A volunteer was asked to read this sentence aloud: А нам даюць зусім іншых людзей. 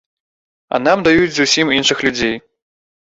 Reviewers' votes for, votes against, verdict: 2, 0, accepted